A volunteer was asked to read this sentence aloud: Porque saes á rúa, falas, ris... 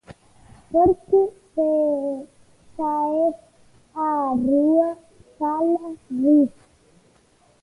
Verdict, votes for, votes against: rejected, 0, 2